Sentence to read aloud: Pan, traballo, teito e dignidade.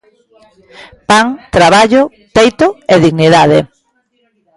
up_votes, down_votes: 2, 1